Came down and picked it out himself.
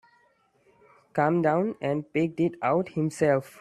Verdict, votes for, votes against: rejected, 1, 2